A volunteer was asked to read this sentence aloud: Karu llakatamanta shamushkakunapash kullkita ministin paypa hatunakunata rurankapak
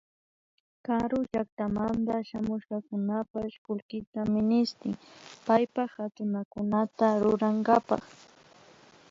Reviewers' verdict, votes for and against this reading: rejected, 1, 2